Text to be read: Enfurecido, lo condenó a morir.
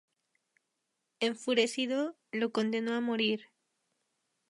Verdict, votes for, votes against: rejected, 0, 2